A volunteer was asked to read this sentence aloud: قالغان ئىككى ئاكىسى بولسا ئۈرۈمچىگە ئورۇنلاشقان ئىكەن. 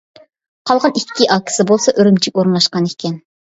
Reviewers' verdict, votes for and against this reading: accepted, 2, 0